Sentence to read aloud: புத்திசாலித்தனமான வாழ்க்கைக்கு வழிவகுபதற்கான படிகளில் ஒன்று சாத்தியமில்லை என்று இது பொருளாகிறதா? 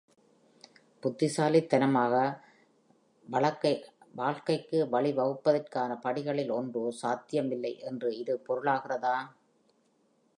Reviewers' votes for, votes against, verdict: 0, 2, rejected